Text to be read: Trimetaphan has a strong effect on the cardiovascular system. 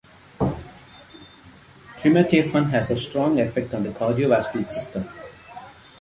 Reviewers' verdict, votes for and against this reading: rejected, 0, 2